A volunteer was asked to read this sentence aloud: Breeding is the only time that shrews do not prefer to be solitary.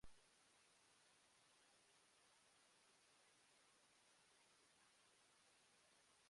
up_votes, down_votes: 0, 2